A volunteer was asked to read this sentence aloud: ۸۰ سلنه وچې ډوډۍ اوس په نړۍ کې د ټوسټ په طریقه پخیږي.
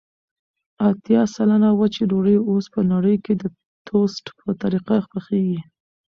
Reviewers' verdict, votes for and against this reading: rejected, 0, 2